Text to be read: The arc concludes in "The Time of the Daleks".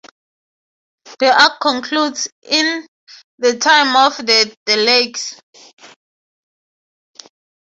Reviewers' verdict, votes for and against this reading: accepted, 3, 0